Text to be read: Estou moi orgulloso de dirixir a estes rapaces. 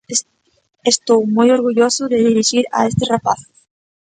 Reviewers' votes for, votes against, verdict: 0, 2, rejected